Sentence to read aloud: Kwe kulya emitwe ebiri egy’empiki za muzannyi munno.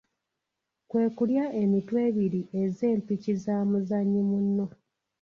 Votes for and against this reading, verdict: 0, 2, rejected